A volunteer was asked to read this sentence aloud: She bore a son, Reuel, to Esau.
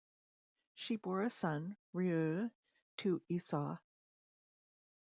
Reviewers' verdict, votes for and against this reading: accepted, 2, 0